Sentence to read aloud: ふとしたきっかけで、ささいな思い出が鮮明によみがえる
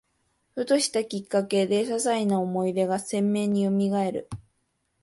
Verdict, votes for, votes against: accepted, 2, 0